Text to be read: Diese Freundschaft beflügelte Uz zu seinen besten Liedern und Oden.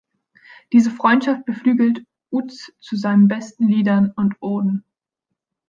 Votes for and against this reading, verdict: 1, 2, rejected